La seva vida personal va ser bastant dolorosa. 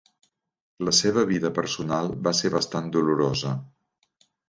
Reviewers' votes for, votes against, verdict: 2, 0, accepted